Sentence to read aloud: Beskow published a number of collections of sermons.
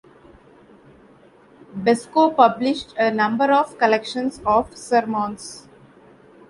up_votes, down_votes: 2, 1